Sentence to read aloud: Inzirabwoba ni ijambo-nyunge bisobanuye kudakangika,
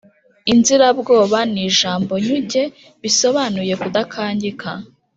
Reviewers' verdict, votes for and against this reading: rejected, 1, 2